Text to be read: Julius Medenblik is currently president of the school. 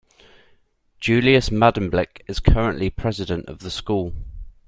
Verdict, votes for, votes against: accepted, 2, 0